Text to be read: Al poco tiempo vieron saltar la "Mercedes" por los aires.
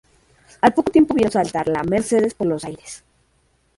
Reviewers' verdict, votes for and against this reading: rejected, 1, 2